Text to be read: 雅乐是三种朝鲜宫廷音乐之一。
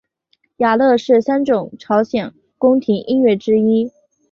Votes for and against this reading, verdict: 2, 0, accepted